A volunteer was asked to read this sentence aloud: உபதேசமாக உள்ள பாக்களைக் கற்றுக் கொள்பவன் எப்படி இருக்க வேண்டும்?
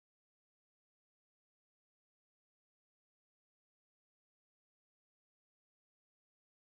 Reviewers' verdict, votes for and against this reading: rejected, 1, 3